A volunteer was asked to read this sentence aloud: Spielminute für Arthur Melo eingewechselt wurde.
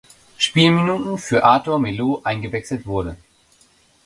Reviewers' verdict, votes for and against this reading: rejected, 0, 2